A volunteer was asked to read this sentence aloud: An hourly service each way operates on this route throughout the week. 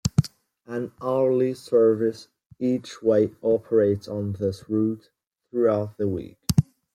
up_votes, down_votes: 2, 0